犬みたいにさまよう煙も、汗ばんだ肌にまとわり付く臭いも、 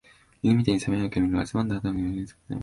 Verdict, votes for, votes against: rejected, 0, 2